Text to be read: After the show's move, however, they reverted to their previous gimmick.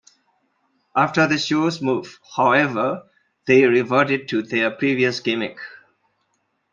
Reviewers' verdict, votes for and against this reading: accepted, 2, 0